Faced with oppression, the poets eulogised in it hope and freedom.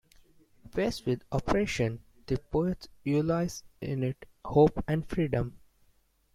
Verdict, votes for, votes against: rejected, 0, 2